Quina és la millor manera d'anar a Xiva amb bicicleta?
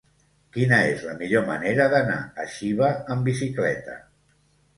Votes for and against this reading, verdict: 1, 2, rejected